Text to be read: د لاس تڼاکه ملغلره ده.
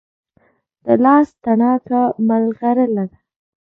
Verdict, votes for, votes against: accepted, 2, 0